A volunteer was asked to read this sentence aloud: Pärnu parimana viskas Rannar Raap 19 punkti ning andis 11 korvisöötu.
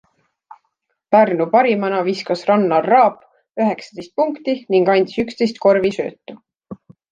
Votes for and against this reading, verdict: 0, 2, rejected